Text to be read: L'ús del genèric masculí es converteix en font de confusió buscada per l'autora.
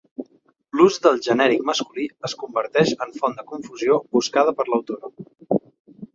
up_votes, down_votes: 3, 0